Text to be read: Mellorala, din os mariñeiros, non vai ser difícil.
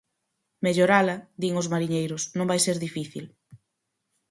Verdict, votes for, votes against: accepted, 4, 0